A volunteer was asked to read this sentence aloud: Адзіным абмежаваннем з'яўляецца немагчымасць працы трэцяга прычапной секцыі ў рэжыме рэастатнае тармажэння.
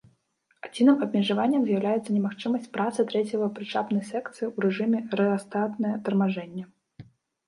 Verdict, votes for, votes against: rejected, 0, 2